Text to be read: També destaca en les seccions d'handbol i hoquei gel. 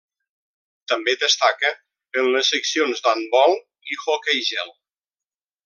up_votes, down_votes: 0, 2